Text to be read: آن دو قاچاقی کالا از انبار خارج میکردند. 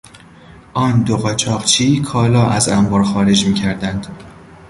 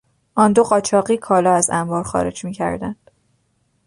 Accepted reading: second